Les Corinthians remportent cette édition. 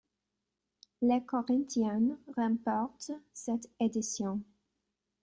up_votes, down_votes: 2, 1